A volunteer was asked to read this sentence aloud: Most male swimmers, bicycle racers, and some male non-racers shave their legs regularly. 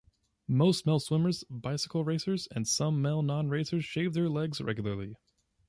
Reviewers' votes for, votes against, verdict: 2, 0, accepted